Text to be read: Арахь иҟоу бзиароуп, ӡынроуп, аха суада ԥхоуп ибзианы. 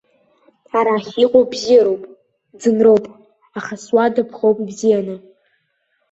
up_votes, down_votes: 0, 2